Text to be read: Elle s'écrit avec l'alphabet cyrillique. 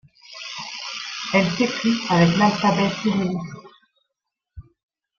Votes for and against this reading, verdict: 0, 2, rejected